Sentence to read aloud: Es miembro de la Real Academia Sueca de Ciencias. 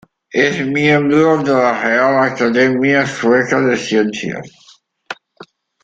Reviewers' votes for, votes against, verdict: 0, 2, rejected